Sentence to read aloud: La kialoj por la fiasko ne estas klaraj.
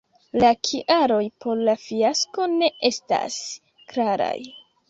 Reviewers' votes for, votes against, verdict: 2, 1, accepted